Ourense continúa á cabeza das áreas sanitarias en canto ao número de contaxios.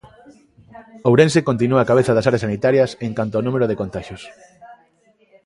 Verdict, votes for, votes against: accepted, 2, 0